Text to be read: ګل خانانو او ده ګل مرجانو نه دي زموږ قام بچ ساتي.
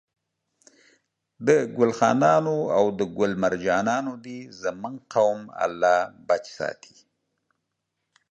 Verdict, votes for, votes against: rejected, 0, 2